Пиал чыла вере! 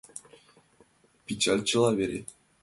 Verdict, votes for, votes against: rejected, 0, 5